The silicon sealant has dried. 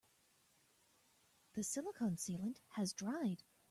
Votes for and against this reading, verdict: 2, 0, accepted